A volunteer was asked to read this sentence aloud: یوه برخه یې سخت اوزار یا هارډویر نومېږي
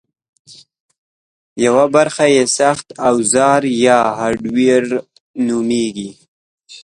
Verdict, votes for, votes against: accepted, 2, 0